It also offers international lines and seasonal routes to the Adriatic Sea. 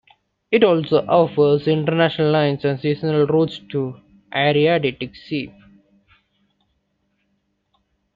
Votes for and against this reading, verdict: 0, 2, rejected